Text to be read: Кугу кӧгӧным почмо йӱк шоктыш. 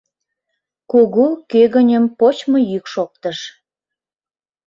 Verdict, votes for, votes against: rejected, 1, 2